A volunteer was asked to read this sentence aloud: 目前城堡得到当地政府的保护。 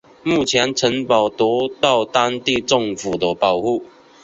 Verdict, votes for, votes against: accepted, 3, 0